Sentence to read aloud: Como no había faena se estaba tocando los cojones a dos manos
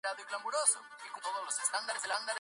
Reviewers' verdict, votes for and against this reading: rejected, 0, 2